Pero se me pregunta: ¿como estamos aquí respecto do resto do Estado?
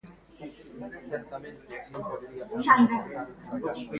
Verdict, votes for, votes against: rejected, 0, 2